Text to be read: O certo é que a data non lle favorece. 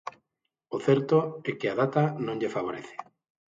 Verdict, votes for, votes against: accepted, 6, 0